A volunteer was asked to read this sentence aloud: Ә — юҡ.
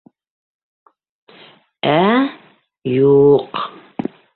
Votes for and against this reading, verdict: 2, 0, accepted